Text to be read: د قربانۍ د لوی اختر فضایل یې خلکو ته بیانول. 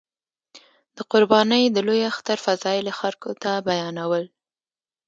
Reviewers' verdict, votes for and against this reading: accepted, 2, 0